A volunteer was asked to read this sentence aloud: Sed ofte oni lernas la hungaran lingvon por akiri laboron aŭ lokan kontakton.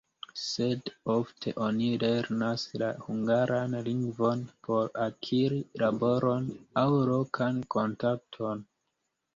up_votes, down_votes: 0, 2